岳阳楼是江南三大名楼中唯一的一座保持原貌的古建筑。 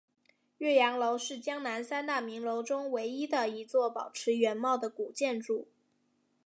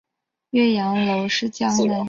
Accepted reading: first